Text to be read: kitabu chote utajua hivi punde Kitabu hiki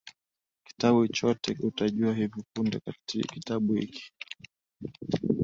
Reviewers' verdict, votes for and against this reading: accepted, 2, 0